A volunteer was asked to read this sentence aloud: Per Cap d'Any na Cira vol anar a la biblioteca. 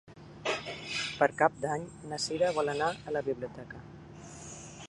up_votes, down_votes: 3, 0